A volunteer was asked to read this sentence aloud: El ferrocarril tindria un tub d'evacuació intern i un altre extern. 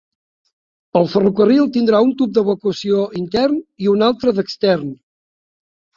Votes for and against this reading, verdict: 0, 2, rejected